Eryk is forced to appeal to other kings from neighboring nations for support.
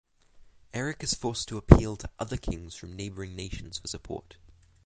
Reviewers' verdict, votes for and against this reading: accepted, 6, 0